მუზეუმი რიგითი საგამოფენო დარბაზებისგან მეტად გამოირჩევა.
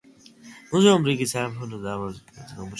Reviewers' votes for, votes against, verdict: 0, 2, rejected